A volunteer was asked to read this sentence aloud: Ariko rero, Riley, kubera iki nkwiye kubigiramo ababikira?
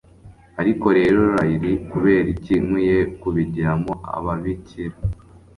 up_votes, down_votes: 2, 0